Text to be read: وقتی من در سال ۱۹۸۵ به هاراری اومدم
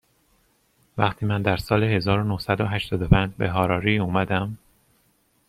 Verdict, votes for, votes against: rejected, 0, 2